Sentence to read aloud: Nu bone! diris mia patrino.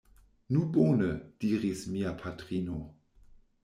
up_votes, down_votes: 2, 0